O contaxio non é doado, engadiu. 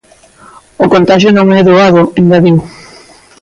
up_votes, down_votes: 2, 0